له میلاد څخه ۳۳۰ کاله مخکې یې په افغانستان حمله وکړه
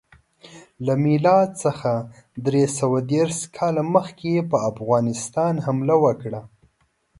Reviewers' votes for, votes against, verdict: 0, 2, rejected